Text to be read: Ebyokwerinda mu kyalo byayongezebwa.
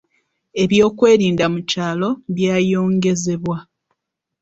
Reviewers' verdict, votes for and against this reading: rejected, 1, 2